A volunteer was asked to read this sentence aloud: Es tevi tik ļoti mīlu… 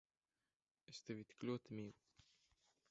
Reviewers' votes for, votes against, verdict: 0, 2, rejected